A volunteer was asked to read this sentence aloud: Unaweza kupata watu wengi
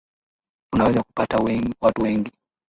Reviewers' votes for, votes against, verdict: 2, 1, accepted